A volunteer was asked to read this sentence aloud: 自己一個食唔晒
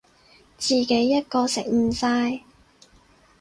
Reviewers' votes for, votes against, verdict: 4, 0, accepted